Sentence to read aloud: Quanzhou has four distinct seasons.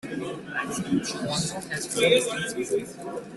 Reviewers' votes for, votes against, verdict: 0, 2, rejected